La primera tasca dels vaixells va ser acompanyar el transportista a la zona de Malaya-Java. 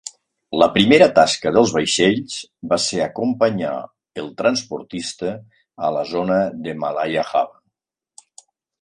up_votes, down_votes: 2, 0